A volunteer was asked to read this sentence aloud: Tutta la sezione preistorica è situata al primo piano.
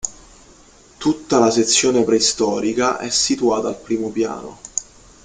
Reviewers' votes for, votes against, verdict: 2, 0, accepted